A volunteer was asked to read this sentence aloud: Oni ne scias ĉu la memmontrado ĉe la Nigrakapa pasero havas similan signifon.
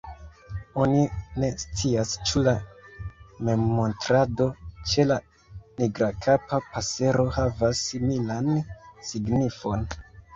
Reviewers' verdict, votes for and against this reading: rejected, 0, 2